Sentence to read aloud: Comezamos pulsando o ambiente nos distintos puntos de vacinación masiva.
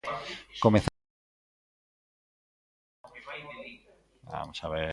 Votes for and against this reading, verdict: 0, 2, rejected